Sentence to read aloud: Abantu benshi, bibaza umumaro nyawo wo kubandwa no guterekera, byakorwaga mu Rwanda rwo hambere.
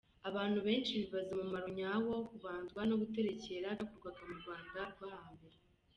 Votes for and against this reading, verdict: 2, 1, accepted